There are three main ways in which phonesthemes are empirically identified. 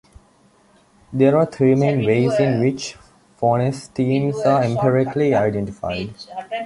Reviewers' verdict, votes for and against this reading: accepted, 2, 1